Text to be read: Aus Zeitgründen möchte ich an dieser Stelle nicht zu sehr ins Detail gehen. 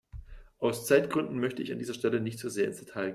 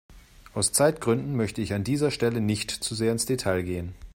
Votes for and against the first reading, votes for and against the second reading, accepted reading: 0, 2, 2, 0, second